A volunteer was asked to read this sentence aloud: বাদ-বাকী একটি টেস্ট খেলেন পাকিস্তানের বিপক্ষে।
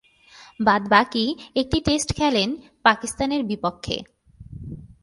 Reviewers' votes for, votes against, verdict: 6, 1, accepted